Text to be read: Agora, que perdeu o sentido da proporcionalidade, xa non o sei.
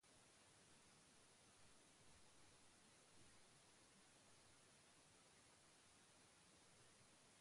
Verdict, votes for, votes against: rejected, 0, 2